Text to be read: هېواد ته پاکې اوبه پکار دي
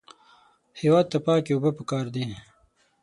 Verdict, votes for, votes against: accepted, 6, 0